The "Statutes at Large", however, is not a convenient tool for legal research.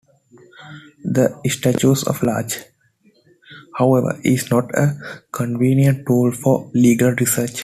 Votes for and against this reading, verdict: 1, 2, rejected